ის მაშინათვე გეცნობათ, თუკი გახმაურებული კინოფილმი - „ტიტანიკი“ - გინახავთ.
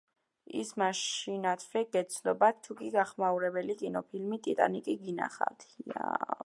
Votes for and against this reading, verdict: 5, 3, accepted